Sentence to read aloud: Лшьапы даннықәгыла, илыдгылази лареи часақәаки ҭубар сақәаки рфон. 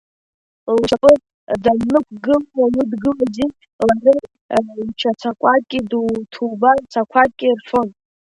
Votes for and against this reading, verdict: 1, 2, rejected